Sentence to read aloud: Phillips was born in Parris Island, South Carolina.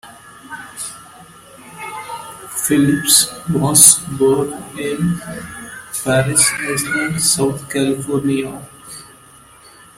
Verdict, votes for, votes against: rejected, 1, 2